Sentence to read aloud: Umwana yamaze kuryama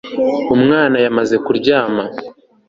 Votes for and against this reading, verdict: 2, 0, accepted